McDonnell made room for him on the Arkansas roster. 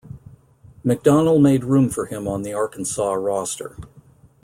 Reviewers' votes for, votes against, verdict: 2, 0, accepted